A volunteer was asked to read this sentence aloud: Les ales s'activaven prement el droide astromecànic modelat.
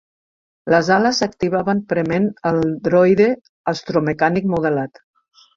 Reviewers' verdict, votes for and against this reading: rejected, 1, 2